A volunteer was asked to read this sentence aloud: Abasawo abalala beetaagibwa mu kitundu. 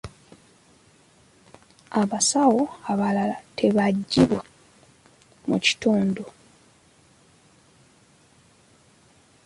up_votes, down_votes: 2, 0